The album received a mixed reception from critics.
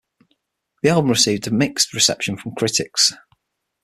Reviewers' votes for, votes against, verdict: 6, 0, accepted